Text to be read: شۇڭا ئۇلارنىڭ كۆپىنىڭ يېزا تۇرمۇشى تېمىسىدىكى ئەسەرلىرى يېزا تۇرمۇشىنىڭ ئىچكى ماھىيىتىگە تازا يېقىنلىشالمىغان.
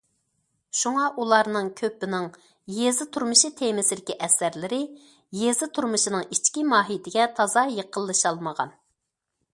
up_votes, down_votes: 2, 0